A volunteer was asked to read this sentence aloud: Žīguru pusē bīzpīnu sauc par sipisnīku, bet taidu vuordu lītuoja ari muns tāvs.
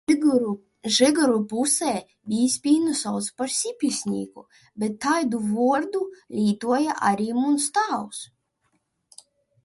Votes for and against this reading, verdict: 0, 2, rejected